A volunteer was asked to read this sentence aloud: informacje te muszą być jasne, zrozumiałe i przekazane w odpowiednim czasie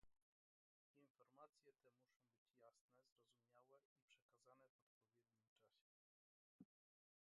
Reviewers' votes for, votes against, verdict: 0, 2, rejected